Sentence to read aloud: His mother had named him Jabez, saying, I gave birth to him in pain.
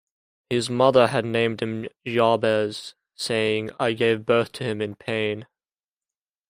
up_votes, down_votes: 2, 0